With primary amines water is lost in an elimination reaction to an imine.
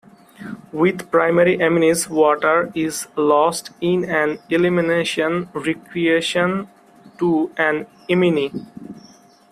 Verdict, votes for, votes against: rejected, 0, 2